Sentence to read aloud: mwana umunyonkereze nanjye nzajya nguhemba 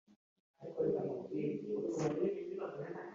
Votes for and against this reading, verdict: 1, 2, rejected